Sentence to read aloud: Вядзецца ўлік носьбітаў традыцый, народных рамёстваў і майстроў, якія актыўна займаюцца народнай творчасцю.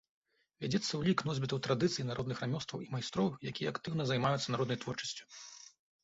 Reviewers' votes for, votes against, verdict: 1, 2, rejected